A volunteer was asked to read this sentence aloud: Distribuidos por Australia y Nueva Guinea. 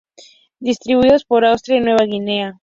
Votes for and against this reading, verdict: 2, 0, accepted